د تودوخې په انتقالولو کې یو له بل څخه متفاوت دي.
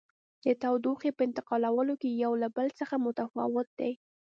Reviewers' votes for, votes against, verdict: 3, 0, accepted